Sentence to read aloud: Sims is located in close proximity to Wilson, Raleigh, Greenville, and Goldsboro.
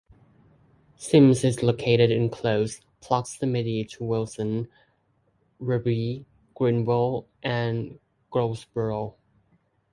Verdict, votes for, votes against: rejected, 0, 2